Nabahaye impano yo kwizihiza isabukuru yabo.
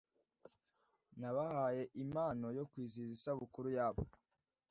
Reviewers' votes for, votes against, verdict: 2, 0, accepted